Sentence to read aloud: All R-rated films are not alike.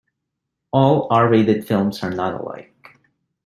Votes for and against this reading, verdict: 1, 2, rejected